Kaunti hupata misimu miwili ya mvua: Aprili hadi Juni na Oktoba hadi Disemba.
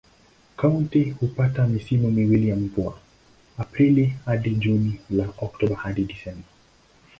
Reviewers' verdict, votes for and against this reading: accepted, 2, 0